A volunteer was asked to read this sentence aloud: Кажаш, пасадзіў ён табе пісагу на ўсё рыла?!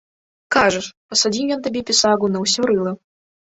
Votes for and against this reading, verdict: 1, 2, rejected